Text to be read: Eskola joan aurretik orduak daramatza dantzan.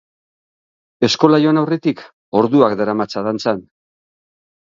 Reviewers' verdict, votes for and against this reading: rejected, 3, 3